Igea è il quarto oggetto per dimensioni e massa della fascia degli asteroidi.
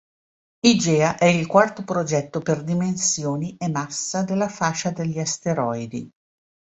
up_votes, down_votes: 0, 2